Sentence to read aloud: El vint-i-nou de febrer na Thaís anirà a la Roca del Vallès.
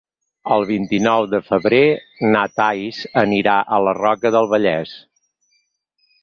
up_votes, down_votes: 2, 4